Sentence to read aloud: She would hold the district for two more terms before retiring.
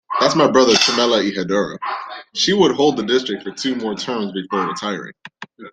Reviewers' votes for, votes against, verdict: 0, 2, rejected